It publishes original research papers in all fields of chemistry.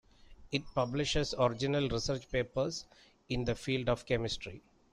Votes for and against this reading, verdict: 0, 2, rejected